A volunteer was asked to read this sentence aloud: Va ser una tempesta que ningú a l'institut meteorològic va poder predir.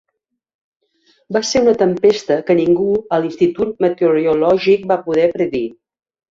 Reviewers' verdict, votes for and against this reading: accepted, 4, 0